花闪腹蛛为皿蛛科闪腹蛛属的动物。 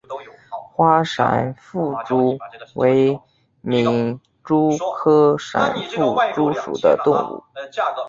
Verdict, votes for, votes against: accepted, 3, 0